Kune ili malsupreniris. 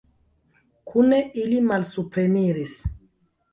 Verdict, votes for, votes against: rejected, 1, 2